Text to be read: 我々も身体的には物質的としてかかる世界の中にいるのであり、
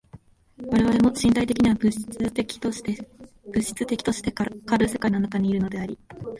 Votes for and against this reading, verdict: 0, 2, rejected